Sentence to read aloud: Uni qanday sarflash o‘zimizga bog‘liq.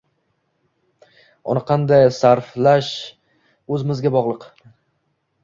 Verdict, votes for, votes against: rejected, 0, 2